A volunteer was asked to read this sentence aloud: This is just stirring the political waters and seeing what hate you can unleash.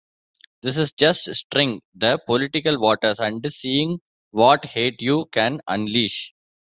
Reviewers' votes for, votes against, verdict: 2, 0, accepted